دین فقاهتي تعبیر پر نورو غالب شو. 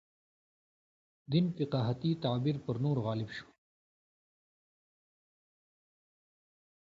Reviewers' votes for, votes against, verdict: 2, 0, accepted